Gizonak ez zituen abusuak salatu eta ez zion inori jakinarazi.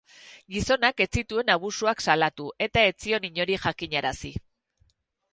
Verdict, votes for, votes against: rejected, 2, 4